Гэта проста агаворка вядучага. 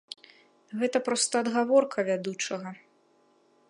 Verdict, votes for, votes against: rejected, 0, 2